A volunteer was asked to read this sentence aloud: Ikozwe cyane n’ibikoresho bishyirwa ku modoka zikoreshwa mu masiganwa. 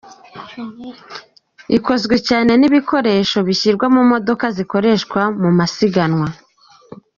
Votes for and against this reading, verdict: 3, 4, rejected